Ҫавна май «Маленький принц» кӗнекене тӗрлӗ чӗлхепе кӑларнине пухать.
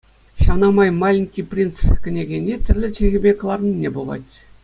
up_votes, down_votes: 2, 0